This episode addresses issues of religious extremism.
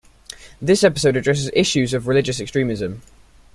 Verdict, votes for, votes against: accepted, 2, 0